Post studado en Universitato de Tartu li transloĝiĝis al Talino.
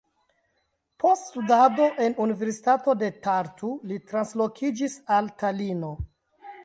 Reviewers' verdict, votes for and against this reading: rejected, 0, 2